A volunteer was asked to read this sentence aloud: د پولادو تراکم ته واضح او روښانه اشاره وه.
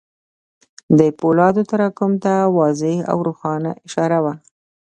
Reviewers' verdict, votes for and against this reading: rejected, 1, 2